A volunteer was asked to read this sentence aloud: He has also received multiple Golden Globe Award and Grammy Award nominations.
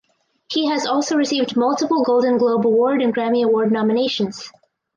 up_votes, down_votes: 4, 0